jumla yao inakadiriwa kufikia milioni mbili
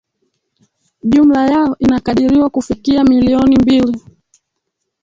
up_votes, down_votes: 1, 3